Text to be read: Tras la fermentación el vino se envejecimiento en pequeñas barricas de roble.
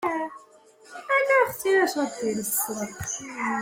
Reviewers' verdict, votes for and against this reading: rejected, 0, 2